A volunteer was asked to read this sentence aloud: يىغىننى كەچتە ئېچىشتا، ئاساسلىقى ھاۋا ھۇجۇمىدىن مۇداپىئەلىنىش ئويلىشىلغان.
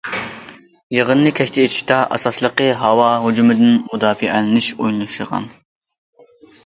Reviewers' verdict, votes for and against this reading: rejected, 0, 2